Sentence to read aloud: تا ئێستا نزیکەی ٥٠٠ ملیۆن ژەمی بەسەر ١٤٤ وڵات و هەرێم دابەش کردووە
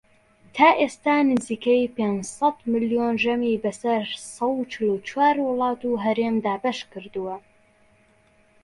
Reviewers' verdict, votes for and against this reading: rejected, 0, 2